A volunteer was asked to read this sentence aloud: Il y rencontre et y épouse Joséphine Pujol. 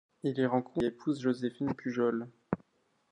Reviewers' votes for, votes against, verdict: 1, 2, rejected